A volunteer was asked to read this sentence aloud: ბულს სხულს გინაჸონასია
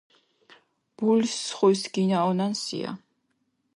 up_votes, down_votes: 1, 2